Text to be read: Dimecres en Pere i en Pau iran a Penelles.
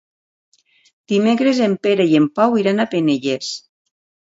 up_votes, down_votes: 2, 0